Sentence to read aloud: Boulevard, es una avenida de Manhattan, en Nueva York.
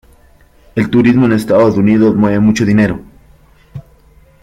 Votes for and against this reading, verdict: 0, 2, rejected